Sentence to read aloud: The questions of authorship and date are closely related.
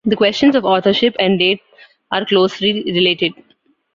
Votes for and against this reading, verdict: 2, 0, accepted